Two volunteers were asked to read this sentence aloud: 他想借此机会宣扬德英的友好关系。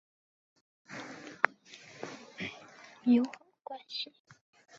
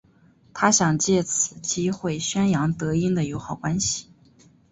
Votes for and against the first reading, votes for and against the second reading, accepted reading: 1, 2, 2, 0, second